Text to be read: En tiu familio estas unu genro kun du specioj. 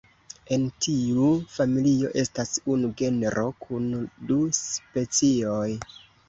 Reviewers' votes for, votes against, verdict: 2, 0, accepted